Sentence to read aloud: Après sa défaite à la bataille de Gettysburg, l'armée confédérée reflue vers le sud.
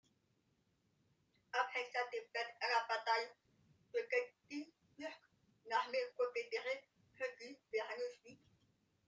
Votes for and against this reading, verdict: 2, 1, accepted